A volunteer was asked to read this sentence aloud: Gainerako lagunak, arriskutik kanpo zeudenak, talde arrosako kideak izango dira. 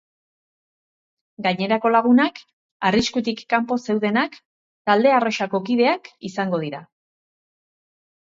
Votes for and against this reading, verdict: 2, 0, accepted